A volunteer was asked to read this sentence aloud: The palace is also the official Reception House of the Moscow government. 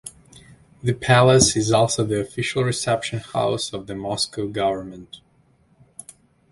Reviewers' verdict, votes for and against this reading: accepted, 2, 0